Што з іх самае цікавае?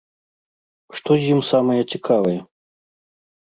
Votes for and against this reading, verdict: 0, 2, rejected